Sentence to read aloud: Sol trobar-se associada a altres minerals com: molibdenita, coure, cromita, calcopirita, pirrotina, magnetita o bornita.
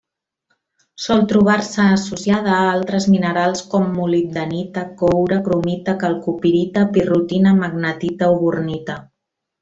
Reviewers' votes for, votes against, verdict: 1, 2, rejected